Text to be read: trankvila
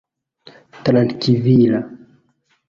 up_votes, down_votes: 0, 2